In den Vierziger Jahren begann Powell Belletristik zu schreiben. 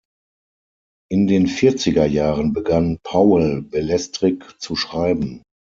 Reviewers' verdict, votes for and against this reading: rejected, 0, 6